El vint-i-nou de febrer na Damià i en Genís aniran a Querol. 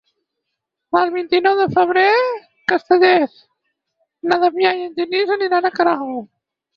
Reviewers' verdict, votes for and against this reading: rejected, 2, 4